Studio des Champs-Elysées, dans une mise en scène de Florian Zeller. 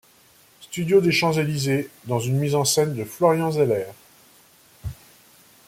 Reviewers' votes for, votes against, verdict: 2, 0, accepted